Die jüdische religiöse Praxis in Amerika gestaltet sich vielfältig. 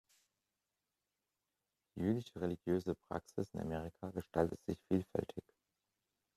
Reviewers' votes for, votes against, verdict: 1, 3, rejected